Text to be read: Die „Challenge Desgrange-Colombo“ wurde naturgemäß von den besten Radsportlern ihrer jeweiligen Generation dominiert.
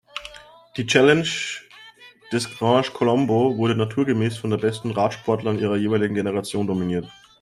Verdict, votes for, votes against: rejected, 1, 2